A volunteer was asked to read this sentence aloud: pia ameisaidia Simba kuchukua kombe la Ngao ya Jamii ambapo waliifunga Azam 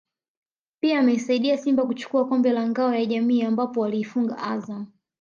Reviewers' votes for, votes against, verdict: 2, 0, accepted